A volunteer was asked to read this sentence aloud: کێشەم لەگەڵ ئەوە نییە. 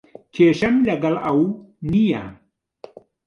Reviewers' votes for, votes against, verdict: 0, 2, rejected